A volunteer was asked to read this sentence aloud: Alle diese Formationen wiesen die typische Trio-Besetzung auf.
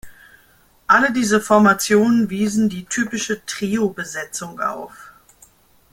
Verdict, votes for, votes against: accepted, 2, 0